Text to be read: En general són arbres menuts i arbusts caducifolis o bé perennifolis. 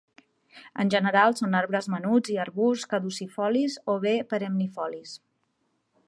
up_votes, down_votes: 2, 0